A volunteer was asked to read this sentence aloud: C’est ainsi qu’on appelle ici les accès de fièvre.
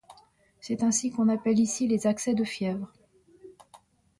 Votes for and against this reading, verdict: 2, 0, accepted